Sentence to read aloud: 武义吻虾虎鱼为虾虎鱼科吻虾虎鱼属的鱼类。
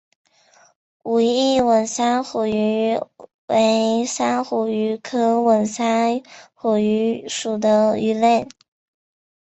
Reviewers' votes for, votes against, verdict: 1, 2, rejected